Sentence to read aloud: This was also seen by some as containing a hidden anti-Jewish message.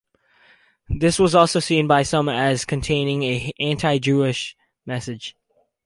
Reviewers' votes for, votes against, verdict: 2, 2, rejected